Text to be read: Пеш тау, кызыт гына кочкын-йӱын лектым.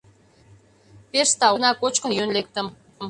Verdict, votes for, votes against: rejected, 1, 2